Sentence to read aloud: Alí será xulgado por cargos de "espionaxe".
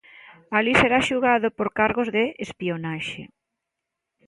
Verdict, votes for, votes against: accepted, 2, 0